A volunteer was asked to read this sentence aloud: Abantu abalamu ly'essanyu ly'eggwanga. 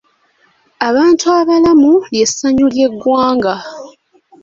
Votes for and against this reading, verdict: 2, 0, accepted